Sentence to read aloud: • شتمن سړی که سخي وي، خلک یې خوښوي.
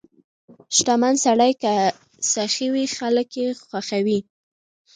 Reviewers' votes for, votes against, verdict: 0, 2, rejected